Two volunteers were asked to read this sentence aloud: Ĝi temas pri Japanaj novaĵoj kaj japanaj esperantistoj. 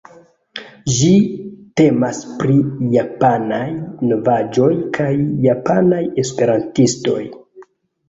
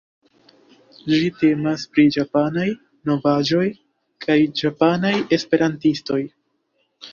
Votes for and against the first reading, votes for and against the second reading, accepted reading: 1, 2, 2, 0, second